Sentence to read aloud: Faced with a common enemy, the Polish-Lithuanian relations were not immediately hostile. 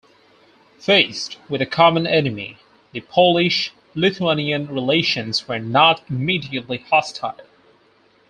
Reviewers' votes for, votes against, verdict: 4, 0, accepted